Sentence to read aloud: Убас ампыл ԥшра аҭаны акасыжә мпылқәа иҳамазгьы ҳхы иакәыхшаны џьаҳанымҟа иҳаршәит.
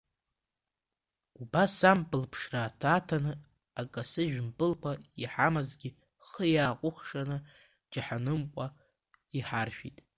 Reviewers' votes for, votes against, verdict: 1, 2, rejected